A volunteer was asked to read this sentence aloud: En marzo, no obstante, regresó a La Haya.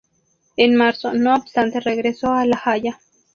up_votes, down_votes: 2, 0